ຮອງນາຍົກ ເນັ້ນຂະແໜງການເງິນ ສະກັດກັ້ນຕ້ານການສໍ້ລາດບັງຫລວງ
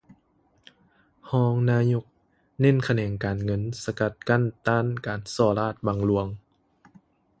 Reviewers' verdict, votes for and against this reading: accepted, 2, 0